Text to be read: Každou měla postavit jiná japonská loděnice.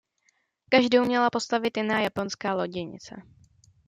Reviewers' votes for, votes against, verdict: 2, 0, accepted